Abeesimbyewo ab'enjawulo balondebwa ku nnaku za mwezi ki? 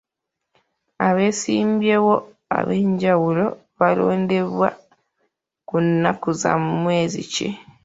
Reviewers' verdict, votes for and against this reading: accepted, 2, 0